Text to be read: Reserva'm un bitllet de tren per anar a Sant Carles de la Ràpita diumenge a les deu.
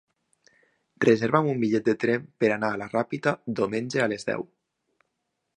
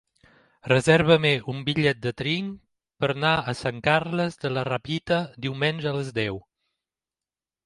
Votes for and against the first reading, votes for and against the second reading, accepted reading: 2, 1, 0, 2, first